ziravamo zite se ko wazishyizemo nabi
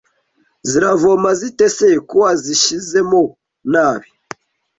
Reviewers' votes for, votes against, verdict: 1, 2, rejected